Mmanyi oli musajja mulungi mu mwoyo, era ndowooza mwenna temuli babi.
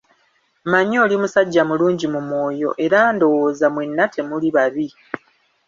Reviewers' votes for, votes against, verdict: 1, 2, rejected